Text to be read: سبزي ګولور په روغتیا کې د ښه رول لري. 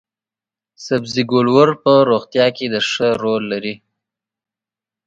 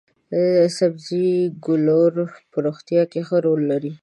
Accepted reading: first